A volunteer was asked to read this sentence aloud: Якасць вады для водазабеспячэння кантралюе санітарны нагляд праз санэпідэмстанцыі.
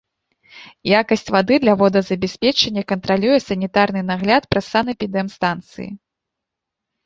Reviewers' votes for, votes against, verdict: 1, 2, rejected